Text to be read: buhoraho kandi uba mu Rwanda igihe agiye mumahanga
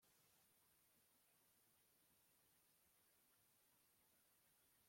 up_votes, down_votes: 0, 2